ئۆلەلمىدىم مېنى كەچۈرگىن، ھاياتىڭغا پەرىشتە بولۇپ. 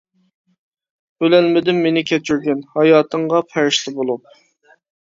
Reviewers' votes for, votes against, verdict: 2, 0, accepted